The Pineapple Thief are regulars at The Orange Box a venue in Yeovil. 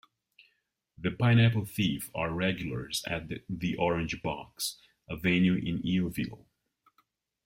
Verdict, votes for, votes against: rejected, 1, 2